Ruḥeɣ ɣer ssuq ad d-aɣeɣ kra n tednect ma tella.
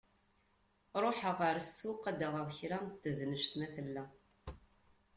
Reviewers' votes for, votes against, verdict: 2, 0, accepted